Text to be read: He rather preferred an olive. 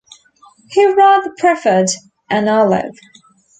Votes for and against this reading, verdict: 2, 1, accepted